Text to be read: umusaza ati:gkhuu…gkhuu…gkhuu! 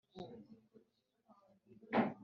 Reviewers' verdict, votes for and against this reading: rejected, 1, 4